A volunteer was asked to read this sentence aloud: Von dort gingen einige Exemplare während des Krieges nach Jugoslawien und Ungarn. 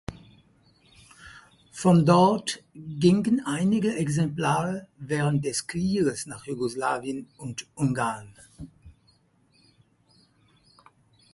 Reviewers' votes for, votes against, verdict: 4, 0, accepted